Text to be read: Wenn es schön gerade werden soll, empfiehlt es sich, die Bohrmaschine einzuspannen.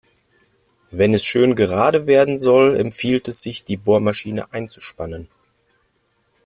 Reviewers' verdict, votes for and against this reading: accepted, 2, 0